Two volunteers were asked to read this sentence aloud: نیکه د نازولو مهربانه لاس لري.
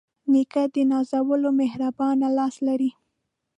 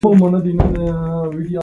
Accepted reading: first